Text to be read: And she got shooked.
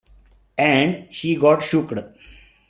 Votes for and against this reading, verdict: 0, 2, rejected